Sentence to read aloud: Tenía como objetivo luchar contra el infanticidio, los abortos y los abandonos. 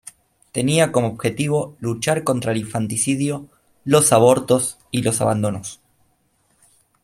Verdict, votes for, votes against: accepted, 3, 0